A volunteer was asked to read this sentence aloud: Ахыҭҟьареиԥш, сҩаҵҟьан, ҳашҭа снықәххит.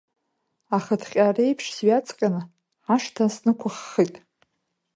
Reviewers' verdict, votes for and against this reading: rejected, 1, 2